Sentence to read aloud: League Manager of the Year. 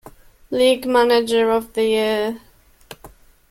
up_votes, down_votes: 2, 0